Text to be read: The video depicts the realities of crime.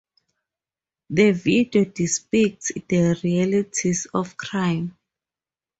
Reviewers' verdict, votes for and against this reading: rejected, 0, 4